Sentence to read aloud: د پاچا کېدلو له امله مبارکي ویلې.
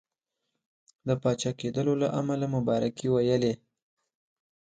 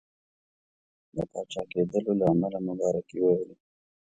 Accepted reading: first